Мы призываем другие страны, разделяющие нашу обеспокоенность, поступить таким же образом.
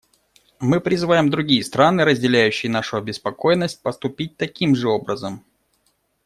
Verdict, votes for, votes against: accepted, 2, 0